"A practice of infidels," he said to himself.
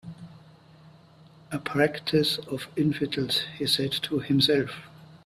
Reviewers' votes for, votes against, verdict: 3, 0, accepted